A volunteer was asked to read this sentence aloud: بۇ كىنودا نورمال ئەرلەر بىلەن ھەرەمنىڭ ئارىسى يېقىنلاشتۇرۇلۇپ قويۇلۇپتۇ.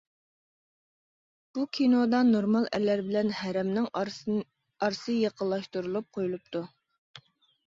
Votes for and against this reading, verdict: 0, 2, rejected